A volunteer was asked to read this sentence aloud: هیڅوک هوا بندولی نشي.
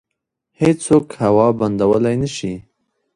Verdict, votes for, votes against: rejected, 1, 2